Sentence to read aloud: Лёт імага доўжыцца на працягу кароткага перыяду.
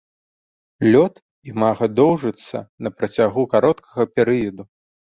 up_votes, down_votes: 2, 1